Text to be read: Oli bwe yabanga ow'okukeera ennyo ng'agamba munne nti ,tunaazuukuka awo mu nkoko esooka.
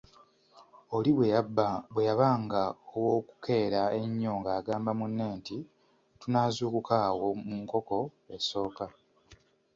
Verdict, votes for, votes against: accepted, 2, 0